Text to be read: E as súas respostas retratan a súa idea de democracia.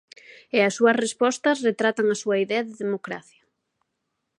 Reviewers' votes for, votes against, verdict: 2, 0, accepted